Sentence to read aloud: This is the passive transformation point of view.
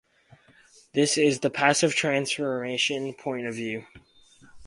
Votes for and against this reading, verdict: 6, 0, accepted